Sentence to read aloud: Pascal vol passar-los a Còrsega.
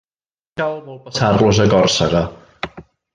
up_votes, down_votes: 0, 2